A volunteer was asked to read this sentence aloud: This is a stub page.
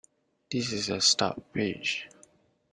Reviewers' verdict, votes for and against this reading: accepted, 2, 0